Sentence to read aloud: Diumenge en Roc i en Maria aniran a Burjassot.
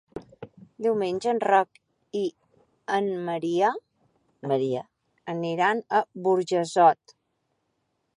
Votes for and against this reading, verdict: 3, 2, accepted